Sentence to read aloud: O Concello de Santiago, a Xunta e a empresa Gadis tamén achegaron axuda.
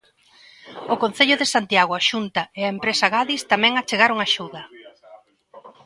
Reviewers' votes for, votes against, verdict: 1, 2, rejected